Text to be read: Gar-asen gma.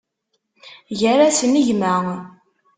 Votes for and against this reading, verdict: 2, 0, accepted